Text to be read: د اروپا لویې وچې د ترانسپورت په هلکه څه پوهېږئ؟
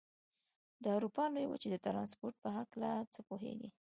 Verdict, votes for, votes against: accepted, 3, 0